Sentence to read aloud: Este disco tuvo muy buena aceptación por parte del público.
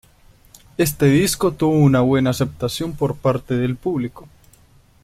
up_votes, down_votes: 1, 2